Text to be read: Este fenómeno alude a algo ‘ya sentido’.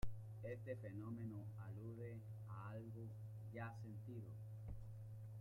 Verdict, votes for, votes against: rejected, 1, 2